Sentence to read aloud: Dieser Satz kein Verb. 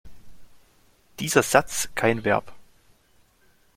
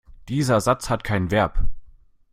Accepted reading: first